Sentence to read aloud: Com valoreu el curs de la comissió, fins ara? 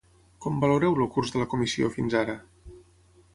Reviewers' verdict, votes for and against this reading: rejected, 0, 9